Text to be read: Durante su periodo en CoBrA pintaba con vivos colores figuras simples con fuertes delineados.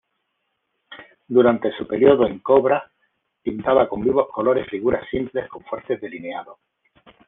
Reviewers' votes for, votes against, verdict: 2, 0, accepted